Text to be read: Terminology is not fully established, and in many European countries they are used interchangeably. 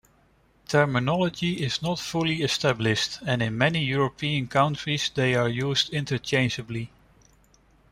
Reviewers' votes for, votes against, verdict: 1, 2, rejected